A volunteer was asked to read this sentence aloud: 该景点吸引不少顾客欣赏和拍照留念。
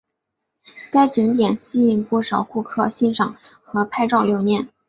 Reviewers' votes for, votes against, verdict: 2, 1, accepted